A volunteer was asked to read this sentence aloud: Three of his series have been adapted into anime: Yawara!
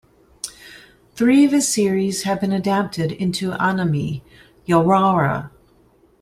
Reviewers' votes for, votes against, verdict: 1, 2, rejected